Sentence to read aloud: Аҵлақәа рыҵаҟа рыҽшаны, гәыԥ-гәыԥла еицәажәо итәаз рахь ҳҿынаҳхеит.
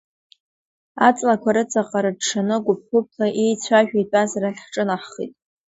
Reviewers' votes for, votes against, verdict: 0, 2, rejected